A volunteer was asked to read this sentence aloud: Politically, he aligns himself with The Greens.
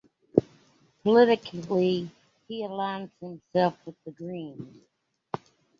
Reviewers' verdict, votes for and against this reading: accepted, 2, 1